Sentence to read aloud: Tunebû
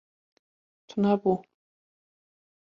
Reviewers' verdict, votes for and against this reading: rejected, 0, 2